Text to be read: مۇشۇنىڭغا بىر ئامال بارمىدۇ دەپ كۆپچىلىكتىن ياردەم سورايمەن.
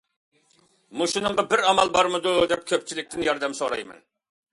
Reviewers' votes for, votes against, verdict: 2, 0, accepted